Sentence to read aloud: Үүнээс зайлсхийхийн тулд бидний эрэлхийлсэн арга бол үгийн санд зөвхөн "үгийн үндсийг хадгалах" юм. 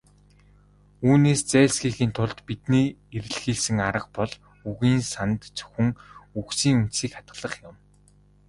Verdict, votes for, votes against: rejected, 1, 2